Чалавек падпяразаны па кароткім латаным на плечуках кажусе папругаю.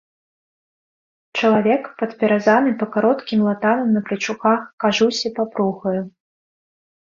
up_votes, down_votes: 3, 1